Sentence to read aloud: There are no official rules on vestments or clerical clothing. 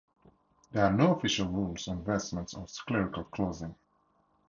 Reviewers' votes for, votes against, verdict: 4, 0, accepted